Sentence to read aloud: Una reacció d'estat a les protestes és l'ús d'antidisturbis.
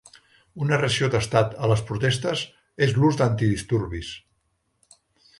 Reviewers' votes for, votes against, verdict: 0, 3, rejected